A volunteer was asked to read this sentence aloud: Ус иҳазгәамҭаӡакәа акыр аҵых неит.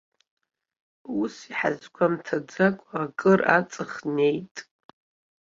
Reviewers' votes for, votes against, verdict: 2, 0, accepted